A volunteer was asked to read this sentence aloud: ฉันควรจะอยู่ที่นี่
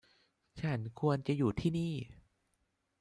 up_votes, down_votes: 2, 0